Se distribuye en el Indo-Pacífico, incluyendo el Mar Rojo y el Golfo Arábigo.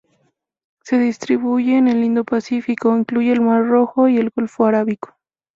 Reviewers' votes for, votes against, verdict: 2, 2, rejected